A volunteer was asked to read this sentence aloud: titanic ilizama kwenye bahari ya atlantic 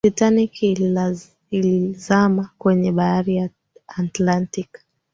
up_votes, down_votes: 1, 2